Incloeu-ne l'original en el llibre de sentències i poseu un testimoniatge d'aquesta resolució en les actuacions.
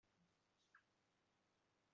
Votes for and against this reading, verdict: 0, 2, rejected